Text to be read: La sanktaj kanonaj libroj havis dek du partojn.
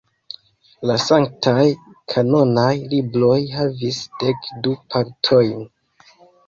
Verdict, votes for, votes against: rejected, 1, 4